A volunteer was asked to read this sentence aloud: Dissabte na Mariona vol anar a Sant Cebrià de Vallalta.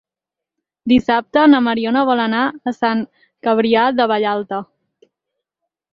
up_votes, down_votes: 0, 4